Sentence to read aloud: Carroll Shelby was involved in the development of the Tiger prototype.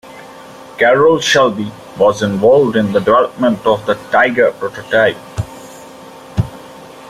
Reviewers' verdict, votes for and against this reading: rejected, 1, 2